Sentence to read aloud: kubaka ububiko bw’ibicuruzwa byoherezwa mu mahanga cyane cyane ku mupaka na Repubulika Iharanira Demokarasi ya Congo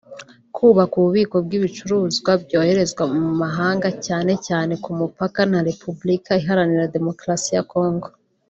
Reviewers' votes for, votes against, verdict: 3, 0, accepted